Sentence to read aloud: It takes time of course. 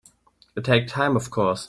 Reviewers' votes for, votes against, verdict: 1, 2, rejected